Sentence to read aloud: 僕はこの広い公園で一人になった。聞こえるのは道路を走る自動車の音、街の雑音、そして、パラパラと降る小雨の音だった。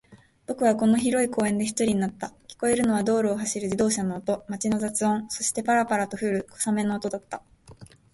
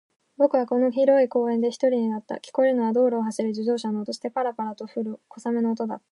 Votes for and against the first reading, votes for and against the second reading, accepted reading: 2, 0, 0, 2, first